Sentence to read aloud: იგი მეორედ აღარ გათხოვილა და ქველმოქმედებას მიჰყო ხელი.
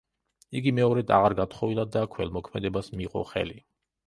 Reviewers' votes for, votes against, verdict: 1, 3, rejected